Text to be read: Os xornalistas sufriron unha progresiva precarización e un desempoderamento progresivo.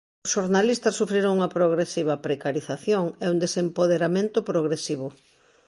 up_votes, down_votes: 0, 2